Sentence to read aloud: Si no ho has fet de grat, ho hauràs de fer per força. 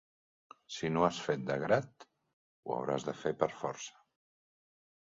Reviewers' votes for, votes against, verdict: 1, 2, rejected